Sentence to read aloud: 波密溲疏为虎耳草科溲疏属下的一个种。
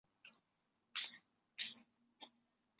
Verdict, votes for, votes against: rejected, 1, 2